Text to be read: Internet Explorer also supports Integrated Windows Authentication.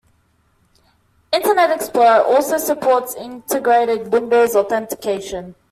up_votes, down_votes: 2, 0